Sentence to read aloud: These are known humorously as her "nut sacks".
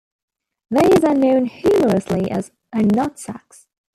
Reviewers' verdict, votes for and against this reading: rejected, 1, 2